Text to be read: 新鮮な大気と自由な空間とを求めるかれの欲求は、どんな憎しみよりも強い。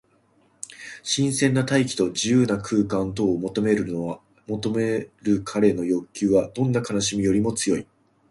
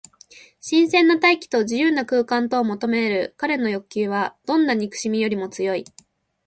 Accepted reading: second